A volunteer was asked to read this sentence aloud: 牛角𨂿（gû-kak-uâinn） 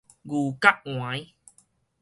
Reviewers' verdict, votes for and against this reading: accepted, 4, 0